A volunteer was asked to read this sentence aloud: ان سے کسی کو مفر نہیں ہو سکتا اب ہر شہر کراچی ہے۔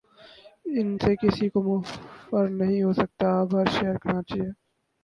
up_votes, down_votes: 0, 2